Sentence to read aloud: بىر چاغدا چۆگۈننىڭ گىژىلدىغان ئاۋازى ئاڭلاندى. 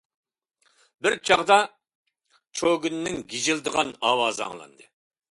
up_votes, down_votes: 0, 2